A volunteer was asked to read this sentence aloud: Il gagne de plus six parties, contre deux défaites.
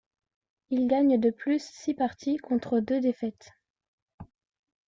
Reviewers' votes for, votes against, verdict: 2, 0, accepted